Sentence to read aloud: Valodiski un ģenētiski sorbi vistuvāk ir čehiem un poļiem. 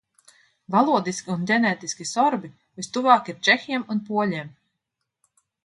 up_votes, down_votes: 2, 0